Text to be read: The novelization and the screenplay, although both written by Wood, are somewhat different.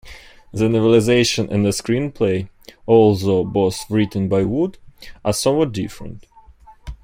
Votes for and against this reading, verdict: 2, 1, accepted